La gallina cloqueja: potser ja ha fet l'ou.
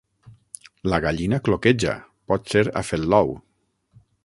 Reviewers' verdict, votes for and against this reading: rejected, 0, 9